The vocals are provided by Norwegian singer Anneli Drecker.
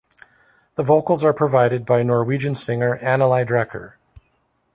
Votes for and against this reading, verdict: 2, 0, accepted